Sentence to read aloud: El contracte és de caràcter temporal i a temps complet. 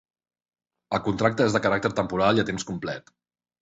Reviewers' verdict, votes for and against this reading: accepted, 2, 0